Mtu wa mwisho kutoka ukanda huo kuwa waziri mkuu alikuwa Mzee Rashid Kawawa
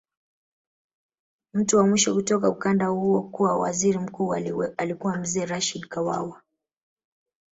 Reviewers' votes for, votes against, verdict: 0, 2, rejected